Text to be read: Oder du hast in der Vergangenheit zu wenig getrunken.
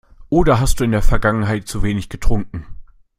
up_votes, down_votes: 1, 2